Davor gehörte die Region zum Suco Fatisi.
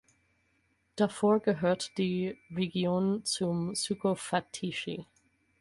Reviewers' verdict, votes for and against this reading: rejected, 0, 4